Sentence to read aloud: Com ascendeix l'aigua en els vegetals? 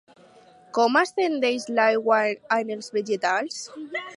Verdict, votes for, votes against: accepted, 2, 0